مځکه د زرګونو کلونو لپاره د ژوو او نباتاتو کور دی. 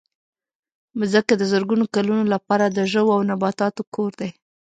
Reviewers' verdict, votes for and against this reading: accepted, 2, 0